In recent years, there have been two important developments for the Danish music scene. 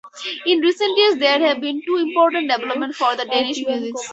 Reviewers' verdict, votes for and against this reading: rejected, 0, 4